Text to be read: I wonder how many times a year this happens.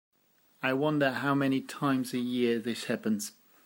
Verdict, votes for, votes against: accepted, 2, 0